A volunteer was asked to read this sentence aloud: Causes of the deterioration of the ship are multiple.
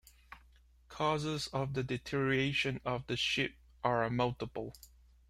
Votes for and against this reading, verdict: 1, 2, rejected